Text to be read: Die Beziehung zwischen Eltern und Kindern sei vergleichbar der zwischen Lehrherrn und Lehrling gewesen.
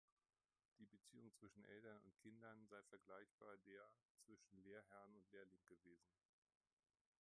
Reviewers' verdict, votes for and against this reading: rejected, 0, 2